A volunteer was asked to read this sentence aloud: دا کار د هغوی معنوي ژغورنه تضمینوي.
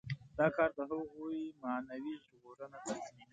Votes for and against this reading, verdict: 0, 2, rejected